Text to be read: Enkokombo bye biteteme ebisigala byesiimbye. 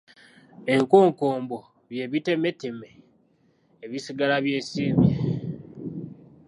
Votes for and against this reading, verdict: 1, 2, rejected